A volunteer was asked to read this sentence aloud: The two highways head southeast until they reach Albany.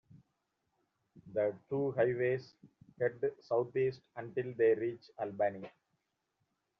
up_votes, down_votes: 0, 2